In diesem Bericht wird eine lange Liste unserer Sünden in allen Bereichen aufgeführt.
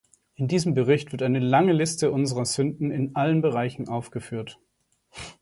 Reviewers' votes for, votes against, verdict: 2, 0, accepted